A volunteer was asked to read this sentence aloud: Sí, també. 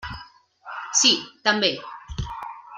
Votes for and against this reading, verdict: 3, 0, accepted